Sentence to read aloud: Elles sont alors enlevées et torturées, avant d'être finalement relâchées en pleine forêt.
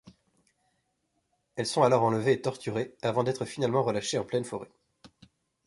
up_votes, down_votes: 2, 0